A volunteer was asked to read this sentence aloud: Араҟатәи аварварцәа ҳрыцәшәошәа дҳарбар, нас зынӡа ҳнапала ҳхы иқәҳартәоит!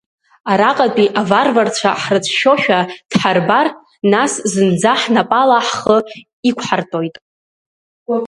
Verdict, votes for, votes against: accepted, 2, 0